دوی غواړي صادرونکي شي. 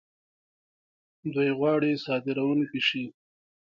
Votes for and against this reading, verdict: 1, 2, rejected